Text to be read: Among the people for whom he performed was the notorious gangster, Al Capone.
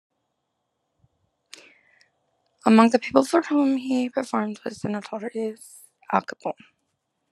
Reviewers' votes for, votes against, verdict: 0, 2, rejected